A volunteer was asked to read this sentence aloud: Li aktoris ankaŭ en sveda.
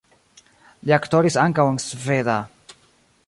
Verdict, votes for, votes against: accepted, 2, 0